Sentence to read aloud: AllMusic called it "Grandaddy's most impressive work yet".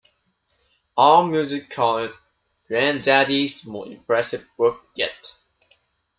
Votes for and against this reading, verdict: 2, 1, accepted